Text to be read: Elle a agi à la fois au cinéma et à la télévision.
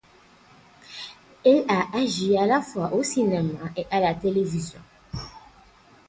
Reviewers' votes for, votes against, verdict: 2, 2, rejected